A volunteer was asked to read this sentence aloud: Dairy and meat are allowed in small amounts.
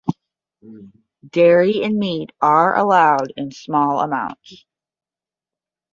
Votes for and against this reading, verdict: 10, 0, accepted